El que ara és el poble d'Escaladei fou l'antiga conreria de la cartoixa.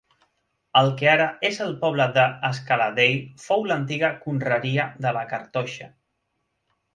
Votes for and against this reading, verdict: 2, 0, accepted